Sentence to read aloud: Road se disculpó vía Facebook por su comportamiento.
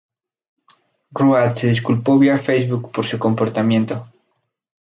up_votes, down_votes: 0, 2